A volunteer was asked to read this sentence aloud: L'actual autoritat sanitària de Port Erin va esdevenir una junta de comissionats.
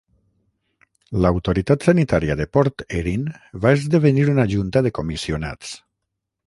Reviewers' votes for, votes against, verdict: 3, 6, rejected